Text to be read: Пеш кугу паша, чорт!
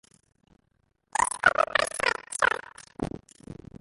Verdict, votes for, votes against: rejected, 0, 2